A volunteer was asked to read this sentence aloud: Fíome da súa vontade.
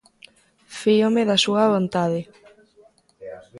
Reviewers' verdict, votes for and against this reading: accepted, 2, 0